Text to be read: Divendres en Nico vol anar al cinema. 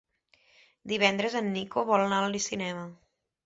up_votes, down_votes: 1, 2